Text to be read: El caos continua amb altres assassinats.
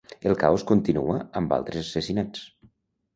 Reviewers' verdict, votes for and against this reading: accepted, 2, 0